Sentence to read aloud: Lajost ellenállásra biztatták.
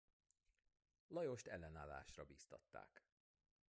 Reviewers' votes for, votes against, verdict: 1, 2, rejected